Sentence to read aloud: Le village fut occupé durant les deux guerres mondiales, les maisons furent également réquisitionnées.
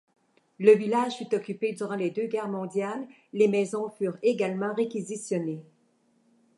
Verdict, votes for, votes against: accepted, 2, 0